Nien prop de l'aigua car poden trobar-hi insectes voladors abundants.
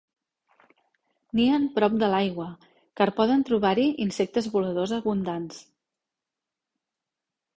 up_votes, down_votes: 2, 0